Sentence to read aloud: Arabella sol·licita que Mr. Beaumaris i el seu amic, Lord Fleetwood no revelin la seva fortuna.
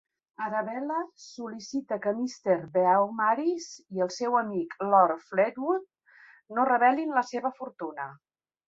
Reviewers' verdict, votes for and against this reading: accepted, 2, 0